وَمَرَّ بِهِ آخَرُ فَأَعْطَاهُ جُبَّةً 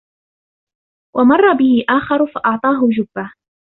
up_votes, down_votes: 2, 0